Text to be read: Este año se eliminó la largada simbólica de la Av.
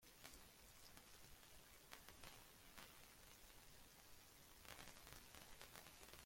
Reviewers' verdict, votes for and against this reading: rejected, 0, 2